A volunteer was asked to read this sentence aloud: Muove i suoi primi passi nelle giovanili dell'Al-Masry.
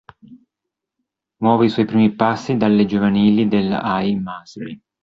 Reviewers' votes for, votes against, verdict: 1, 3, rejected